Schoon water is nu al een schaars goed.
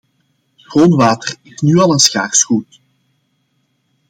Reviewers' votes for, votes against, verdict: 2, 0, accepted